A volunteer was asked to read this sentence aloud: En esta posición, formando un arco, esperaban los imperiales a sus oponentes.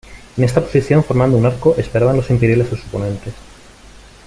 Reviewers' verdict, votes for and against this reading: accepted, 2, 0